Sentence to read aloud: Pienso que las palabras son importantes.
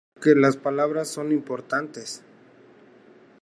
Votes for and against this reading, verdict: 0, 2, rejected